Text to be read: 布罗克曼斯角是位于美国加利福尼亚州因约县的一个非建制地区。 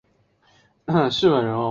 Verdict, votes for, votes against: rejected, 0, 3